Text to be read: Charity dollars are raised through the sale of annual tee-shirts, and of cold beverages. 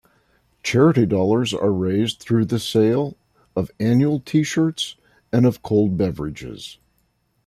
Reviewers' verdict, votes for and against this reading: accepted, 2, 0